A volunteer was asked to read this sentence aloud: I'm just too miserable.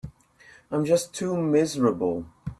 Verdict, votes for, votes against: accepted, 2, 0